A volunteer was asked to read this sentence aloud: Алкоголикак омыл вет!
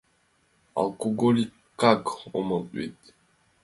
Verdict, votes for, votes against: accepted, 2, 0